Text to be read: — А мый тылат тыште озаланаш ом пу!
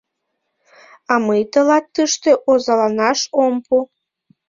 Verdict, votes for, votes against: accepted, 2, 0